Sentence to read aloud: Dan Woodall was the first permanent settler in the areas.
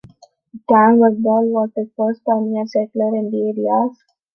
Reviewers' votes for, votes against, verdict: 0, 2, rejected